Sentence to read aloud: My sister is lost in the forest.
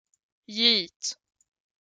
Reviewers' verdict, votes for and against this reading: rejected, 0, 2